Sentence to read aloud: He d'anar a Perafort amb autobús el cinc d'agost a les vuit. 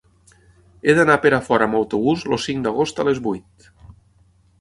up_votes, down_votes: 0, 6